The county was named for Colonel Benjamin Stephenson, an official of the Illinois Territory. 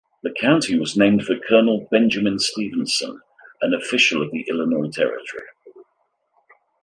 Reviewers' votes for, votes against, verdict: 2, 0, accepted